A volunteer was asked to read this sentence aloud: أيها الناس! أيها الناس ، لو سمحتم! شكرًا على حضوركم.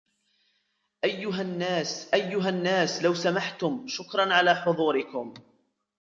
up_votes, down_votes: 1, 2